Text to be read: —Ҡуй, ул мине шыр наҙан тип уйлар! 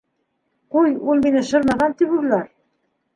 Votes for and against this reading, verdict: 2, 3, rejected